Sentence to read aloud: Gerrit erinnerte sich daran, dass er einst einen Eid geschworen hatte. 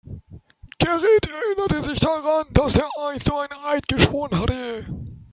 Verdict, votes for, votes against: accepted, 3, 2